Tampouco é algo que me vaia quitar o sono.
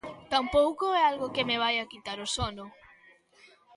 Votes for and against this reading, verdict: 3, 0, accepted